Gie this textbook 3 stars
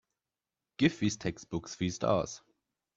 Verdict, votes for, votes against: rejected, 0, 2